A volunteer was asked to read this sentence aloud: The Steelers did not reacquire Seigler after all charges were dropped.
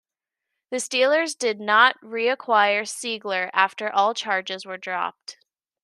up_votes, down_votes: 2, 0